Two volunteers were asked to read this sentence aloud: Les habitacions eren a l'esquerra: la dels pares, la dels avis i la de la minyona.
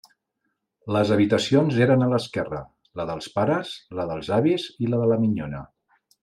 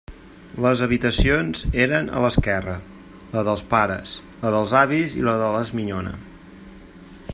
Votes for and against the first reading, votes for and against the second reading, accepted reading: 3, 0, 1, 2, first